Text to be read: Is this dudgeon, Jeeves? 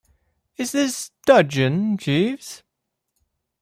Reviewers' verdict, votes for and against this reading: accepted, 2, 0